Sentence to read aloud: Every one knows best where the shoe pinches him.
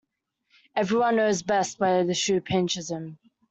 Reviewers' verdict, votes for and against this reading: accepted, 2, 1